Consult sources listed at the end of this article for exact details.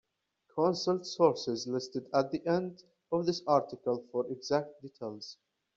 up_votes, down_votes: 2, 0